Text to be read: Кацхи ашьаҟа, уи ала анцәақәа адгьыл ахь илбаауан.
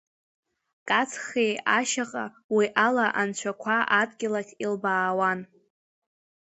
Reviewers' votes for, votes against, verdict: 2, 0, accepted